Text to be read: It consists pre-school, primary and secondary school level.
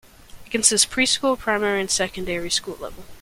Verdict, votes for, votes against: rejected, 0, 2